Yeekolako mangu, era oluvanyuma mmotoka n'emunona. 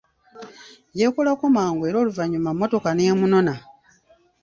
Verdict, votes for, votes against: accepted, 3, 0